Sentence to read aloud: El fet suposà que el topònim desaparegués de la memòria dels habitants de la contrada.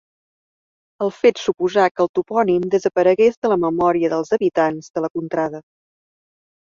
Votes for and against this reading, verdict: 2, 0, accepted